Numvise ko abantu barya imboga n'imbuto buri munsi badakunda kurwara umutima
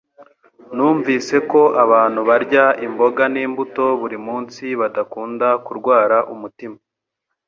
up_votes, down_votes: 2, 1